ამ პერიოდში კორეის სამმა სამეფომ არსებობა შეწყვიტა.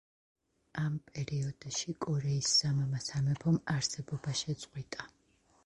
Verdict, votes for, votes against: accepted, 2, 0